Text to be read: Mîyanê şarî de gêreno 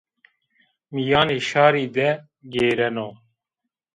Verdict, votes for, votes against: accepted, 2, 0